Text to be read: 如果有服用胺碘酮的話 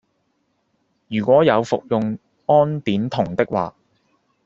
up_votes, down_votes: 2, 0